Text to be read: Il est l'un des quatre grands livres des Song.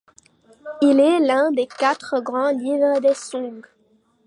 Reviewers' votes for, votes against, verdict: 1, 2, rejected